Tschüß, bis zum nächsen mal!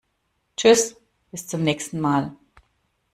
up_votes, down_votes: 2, 0